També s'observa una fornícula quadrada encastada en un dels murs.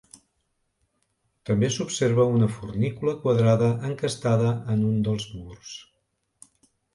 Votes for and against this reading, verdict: 2, 0, accepted